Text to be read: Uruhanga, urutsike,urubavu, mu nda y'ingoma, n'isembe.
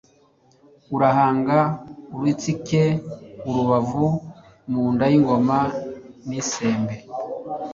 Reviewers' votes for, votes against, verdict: 1, 2, rejected